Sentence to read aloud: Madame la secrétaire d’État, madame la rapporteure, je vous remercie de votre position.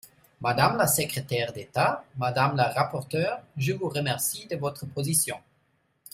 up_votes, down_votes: 2, 0